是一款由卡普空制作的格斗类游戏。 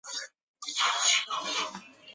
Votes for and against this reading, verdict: 0, 7, rejected